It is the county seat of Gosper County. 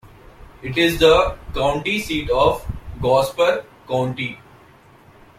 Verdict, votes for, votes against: rejected, 0, 2